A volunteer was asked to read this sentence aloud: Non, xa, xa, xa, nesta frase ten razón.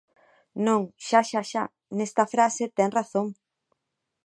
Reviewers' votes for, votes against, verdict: 2, 0, accepted